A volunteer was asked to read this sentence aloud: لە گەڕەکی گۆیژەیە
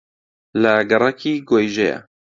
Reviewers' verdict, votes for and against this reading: accepted, 2, 0